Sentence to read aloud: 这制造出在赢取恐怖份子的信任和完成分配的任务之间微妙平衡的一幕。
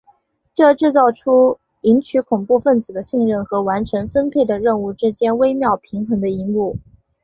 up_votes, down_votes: 0, 2